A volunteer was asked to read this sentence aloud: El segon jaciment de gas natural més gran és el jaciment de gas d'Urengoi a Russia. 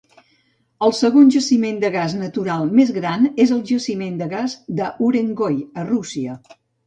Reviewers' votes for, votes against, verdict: 1, 2, rejected